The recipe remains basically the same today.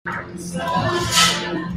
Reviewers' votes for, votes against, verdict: 0, 2, rejected